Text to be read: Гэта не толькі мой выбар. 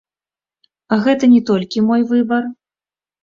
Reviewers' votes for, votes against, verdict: 1, 2, rejected